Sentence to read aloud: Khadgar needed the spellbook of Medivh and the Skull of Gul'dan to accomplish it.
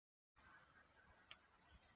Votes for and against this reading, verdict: 0, 2, rejected